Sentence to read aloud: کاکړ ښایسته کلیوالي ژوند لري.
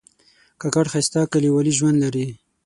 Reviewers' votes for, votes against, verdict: 6, 0, accepted